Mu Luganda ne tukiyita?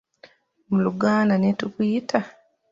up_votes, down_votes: 1, 2